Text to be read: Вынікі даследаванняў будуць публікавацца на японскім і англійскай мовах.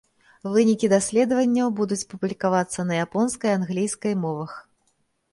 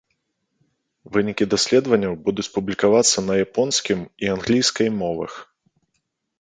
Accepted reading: second